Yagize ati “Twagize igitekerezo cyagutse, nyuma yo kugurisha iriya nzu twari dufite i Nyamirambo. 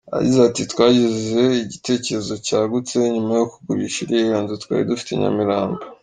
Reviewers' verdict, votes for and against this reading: accepted, 3, 1